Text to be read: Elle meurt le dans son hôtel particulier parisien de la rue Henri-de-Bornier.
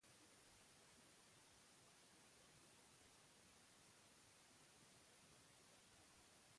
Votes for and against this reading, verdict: 0, 2, rejected